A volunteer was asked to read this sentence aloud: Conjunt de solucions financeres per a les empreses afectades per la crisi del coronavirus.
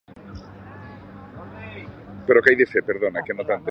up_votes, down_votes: 1, 2